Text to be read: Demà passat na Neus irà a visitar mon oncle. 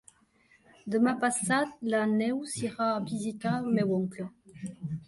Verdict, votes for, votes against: rejected, 0, 3